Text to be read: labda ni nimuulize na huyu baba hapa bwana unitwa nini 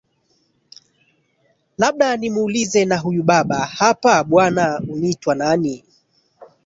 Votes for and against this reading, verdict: 1, 2, rejected